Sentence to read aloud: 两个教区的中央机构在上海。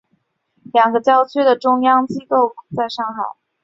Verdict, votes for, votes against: accepted, 3, 0